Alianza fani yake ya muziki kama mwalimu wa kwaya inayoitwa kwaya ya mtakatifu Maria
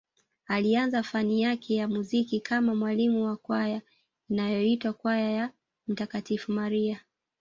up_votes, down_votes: 2, 0